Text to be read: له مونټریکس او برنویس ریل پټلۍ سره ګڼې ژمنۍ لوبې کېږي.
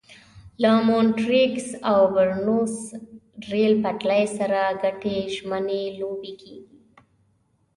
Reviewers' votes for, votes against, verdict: 1, 2, rejected